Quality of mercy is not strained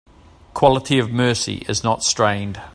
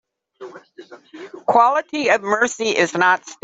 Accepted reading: first